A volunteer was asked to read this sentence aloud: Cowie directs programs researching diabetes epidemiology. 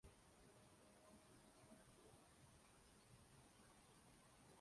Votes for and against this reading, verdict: 0, 2, rejected